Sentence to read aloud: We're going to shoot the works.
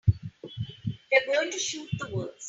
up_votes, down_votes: 0, 3